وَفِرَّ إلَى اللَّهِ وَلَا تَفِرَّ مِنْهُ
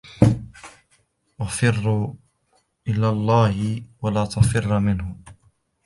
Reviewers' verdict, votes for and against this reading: rejected, 0, 2